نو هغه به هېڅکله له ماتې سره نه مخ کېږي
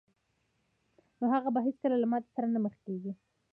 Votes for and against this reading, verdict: 1, 2, rejected